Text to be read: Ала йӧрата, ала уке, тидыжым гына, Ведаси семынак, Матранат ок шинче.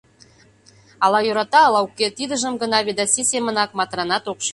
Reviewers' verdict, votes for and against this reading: rejected, 1, 2